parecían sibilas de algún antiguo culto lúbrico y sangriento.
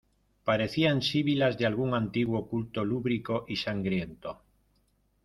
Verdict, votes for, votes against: accepted, 2, 0